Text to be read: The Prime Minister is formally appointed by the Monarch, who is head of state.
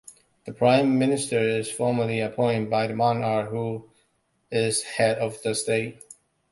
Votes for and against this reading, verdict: 0, 2, rejected